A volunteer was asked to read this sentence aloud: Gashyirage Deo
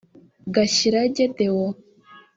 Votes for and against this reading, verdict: 2, 3, rejected